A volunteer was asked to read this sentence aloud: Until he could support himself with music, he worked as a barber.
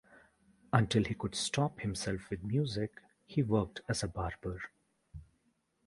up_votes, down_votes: 0, 2